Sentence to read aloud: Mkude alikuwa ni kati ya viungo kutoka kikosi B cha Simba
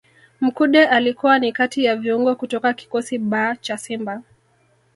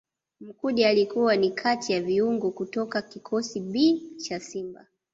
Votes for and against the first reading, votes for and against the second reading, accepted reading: 1, 2, 2, 0, second